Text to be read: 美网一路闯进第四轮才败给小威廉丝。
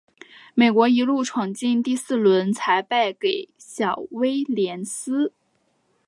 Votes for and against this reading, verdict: 0, 2, rejected